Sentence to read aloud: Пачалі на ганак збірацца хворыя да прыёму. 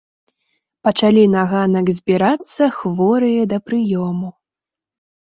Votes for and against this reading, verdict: 2, 0, accepted